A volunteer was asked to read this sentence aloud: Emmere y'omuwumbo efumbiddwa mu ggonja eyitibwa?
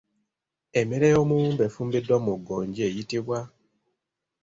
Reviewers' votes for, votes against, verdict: 2, 0, accepted